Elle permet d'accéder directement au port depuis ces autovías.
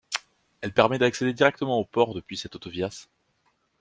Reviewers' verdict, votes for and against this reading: rejected, 1, 2